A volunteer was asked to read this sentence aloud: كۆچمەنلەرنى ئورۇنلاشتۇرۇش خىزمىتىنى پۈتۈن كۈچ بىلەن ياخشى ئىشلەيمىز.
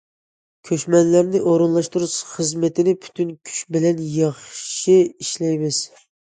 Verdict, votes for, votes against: accepted, 2, 0